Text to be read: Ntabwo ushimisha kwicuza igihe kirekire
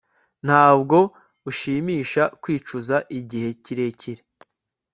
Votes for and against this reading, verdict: 2, 0, accepted